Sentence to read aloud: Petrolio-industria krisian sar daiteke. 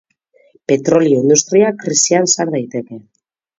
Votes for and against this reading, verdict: 2, 0, accepted